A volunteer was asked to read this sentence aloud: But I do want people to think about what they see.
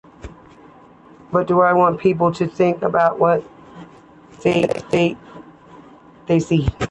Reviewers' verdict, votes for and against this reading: accepted, 2, 1